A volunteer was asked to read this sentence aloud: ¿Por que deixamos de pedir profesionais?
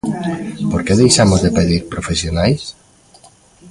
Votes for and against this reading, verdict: 1, 2, rejected